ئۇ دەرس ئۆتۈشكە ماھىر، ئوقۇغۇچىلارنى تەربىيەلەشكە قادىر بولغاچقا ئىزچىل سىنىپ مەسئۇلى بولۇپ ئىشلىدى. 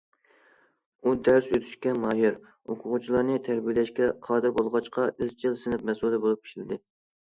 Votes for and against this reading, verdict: 2, 0, accepted